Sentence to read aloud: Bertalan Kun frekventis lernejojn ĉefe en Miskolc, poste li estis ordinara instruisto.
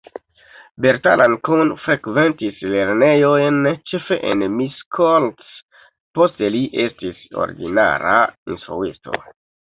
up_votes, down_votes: 2, 3